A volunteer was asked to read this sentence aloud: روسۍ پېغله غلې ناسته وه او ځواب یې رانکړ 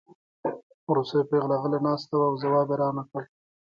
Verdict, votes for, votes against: rejected, 1, 2